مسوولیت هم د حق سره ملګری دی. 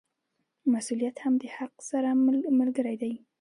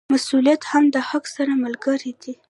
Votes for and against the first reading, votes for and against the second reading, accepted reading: 2, 0, 1, 2, first